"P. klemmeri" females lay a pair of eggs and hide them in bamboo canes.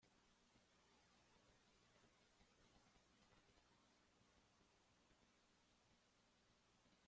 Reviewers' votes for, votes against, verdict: 0, 2, rejected